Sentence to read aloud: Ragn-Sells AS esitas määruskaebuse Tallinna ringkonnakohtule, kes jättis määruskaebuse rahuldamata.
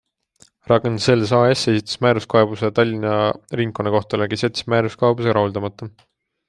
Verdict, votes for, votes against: accepted, 2, 0